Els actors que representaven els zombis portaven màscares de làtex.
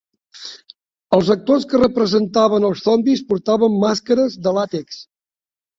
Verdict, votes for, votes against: accepted, 2, 0